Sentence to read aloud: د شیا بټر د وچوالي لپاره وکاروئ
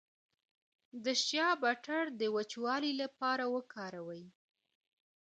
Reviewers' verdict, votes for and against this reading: accepted, 2, 0